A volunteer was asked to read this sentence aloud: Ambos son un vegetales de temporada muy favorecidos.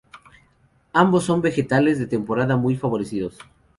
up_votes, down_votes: 0, 2